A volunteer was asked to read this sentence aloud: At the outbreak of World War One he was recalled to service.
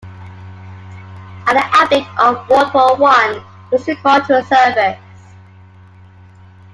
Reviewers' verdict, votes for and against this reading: rejected, 0, 2